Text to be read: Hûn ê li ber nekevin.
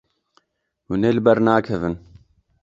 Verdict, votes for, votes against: rejected, 0, 2